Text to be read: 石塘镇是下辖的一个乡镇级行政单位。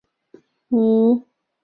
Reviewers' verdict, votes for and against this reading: rejected, 1, 5